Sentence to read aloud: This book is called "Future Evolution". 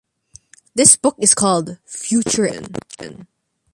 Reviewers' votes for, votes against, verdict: 0, 2, rejected